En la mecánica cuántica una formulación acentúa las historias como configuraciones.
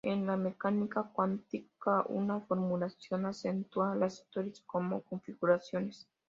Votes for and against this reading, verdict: 2, 0, accepted